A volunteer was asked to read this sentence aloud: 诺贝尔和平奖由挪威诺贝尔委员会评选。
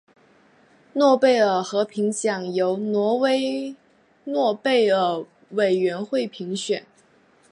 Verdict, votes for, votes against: accepted, 2, 1